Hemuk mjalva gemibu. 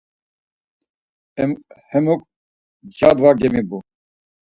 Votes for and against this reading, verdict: 2, 4, rejected